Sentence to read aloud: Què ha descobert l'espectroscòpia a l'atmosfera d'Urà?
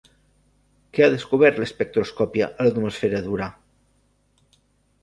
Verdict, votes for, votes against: accepted, 2, 0